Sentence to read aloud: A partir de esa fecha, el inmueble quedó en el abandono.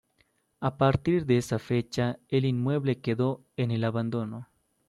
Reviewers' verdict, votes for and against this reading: accepted, 2, 0